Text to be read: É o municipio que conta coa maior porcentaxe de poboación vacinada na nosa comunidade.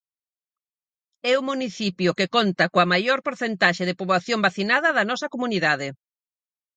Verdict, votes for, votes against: rejected, 0, 4